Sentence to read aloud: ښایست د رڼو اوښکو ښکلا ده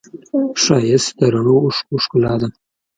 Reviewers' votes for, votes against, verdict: 2, 0, accepted